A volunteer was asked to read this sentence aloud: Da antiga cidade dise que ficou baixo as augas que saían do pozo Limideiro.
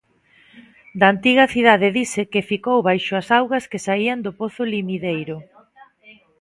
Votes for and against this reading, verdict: 2, 0, accepted